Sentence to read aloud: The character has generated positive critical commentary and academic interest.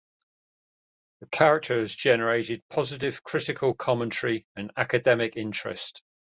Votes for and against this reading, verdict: 2, 0, accepted